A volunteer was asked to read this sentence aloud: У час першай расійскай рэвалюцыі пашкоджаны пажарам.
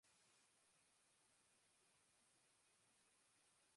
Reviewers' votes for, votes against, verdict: 0, 2, rejected